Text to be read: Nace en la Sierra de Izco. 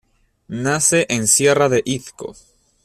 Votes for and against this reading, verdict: 1, 2, rejected